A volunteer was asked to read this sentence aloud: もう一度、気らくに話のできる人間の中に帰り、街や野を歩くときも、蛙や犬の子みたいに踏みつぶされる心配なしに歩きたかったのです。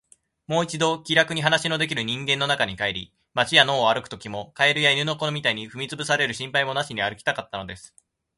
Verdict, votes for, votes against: accepted, 2, 0